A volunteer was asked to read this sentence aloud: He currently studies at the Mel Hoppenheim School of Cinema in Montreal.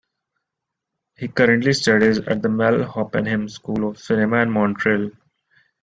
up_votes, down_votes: 2, 0